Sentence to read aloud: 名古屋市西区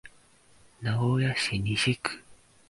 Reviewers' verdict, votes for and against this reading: accepted, 3, 0